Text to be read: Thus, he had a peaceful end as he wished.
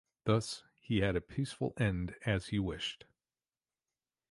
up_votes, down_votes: 2, 0